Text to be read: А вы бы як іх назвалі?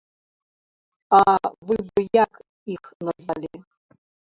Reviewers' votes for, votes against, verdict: 0, 2, rejected